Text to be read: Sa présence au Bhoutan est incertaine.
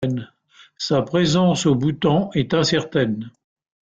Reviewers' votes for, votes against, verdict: 3, 2, accepted